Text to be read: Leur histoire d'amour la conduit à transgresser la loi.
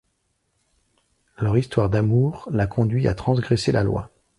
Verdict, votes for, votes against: accepted, 2, 0